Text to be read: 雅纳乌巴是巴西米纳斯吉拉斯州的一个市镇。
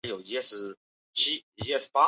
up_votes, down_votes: 0, 2